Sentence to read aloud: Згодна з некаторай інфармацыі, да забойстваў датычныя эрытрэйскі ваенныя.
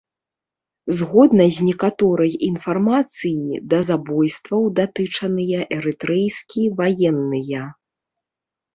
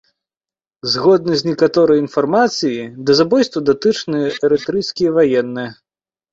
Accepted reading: second